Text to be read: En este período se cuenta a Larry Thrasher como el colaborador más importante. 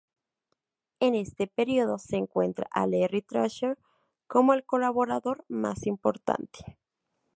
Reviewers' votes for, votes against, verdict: 0, 2, rejected